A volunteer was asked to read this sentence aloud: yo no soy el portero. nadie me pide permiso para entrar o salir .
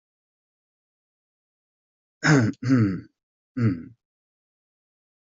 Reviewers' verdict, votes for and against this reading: rejected, 0, 2